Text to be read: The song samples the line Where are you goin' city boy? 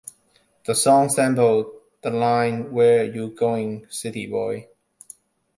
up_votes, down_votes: 2, 1